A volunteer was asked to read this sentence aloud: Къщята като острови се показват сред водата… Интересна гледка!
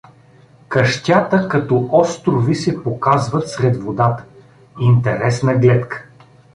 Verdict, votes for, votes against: accepted, 2, 0